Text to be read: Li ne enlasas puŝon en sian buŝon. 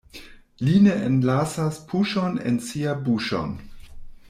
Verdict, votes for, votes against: rejected, 1, 2